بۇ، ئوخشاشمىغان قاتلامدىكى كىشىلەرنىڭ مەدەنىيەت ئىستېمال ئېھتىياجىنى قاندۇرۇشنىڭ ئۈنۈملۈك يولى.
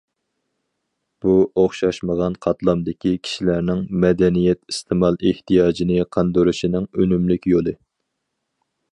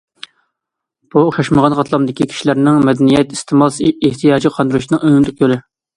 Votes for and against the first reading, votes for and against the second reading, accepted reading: 4, 2, 1, 2, first